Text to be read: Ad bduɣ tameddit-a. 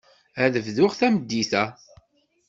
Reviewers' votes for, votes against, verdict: 2, 0, accepted